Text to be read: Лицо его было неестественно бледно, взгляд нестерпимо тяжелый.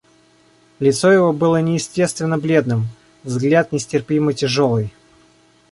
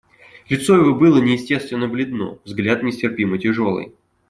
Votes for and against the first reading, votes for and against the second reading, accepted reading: 0, 2, 2, 0, second